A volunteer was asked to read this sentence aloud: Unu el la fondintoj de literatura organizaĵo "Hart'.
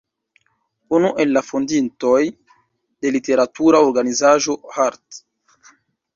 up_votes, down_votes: 1, 2